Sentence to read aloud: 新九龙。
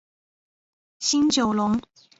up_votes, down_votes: 2, 0